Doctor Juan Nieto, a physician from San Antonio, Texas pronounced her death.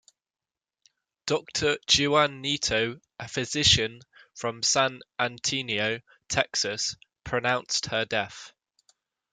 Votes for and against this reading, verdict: 0, 2, rejected